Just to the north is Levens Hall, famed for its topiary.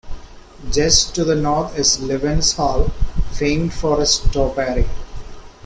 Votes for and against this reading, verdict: 0, 2, rejected